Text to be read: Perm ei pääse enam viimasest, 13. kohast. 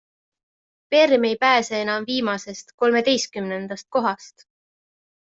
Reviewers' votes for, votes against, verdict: 0, 2, rejected